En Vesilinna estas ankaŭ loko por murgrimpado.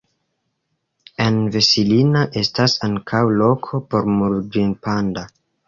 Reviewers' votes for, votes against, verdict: 0, 2, rejected